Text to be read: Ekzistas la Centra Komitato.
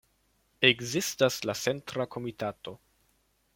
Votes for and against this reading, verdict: 2, 1, accepted